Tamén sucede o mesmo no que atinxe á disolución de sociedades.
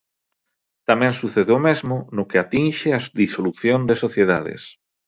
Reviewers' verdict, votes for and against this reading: rejected, 1, 2